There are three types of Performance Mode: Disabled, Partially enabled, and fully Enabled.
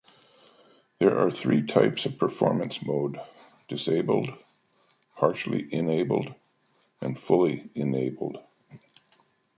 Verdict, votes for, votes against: accepted, 2, 0